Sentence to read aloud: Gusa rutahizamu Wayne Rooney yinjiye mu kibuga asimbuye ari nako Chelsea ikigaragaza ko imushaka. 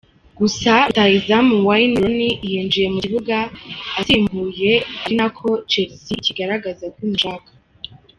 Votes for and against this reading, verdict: 1, 2, rejected